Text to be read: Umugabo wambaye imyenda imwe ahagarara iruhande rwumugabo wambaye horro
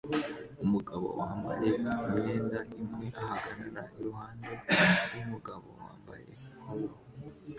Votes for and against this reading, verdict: 1, 2, rejected